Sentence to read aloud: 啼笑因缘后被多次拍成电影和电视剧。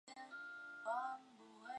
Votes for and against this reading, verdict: 0, 2, rejected